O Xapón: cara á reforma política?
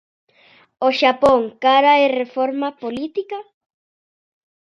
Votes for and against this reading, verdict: 0, 2, rejected